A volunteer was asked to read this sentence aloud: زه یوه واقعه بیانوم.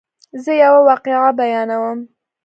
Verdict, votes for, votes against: accepted, 2, 0